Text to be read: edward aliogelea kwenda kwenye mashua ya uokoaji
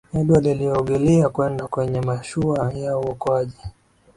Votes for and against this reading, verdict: 4, 1, accepted